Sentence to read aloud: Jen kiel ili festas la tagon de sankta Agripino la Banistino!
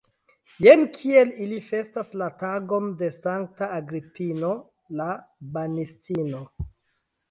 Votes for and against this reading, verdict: 1, 2, rejected